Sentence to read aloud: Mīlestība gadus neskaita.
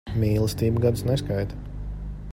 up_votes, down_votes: 2, 0